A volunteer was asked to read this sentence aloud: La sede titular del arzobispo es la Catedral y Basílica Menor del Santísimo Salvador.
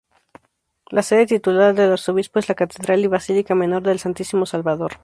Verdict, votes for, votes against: accepted, 8, 2